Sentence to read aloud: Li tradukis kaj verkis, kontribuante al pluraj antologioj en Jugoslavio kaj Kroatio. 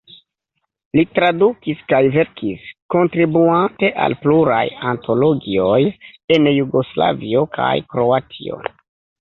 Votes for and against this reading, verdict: 1, 2, rejected